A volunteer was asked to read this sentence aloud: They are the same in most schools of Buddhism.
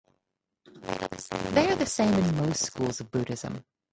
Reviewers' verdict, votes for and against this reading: rejected, 2, 4